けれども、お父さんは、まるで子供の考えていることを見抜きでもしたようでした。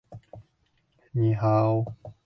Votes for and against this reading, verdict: 0, 2, rejected